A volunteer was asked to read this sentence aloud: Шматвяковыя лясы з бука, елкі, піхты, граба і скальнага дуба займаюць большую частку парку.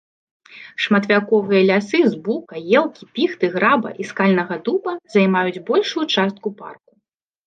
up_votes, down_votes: 2, 0